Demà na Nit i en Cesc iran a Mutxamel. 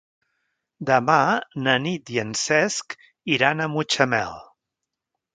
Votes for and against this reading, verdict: 3, 0, accepted